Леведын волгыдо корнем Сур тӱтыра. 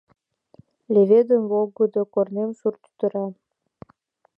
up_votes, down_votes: 2, 0